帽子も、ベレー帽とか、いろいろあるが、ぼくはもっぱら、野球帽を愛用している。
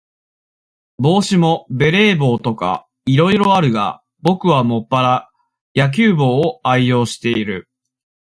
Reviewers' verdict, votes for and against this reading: accepted, 2, 0